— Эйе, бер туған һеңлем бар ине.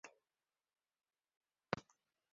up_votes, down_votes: 1, 2